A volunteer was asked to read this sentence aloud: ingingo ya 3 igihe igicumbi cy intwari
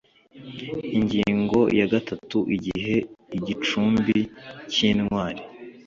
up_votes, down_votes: 0, 2